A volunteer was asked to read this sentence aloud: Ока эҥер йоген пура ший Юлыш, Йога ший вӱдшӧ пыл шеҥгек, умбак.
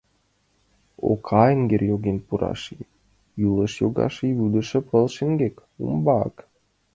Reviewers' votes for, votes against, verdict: 1, 2, rejected